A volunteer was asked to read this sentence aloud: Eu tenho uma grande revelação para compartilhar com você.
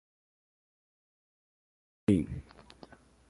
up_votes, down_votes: 0, 2